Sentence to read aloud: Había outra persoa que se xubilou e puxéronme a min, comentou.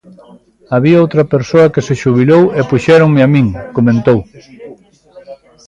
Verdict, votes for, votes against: rejected, 1, 2